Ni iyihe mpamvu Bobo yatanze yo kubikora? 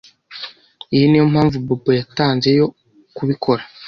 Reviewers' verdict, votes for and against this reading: rejected, 0, 3